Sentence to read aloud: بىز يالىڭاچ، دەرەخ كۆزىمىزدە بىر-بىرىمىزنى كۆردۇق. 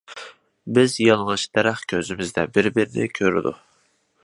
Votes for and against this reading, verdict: 1, 2, rejected